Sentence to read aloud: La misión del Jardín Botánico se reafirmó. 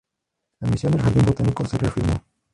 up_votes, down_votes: 0, 2